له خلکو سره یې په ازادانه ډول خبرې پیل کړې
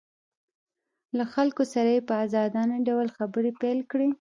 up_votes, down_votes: 1, 2